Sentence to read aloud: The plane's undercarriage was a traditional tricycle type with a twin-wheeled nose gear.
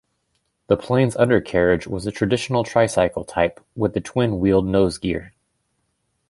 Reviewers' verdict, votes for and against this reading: accepted, 2, 1